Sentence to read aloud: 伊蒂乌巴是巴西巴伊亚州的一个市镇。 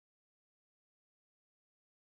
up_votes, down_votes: 1, 2